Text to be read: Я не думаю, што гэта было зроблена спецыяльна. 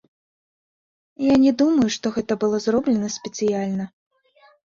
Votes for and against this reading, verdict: 1, 2, rejected